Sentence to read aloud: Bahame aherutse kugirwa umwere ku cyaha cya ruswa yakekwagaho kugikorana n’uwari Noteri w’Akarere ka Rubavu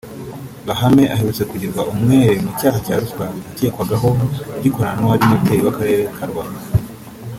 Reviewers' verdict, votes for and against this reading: rejected, 1, 2